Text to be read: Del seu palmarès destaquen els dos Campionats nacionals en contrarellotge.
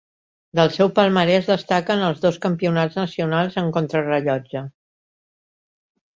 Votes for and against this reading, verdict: 3, 0, accepted